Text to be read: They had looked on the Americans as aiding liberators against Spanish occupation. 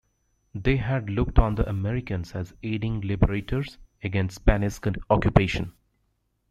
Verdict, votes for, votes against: accepted, 2, 0